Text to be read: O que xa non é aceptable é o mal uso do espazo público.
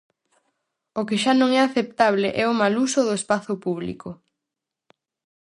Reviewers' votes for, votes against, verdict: 4, 0, accepted